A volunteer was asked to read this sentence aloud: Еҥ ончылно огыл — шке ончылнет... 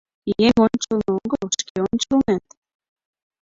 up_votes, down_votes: 0, 2